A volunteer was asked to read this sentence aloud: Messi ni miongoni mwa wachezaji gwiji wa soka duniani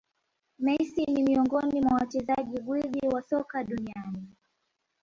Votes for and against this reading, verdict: 0, 2, rejected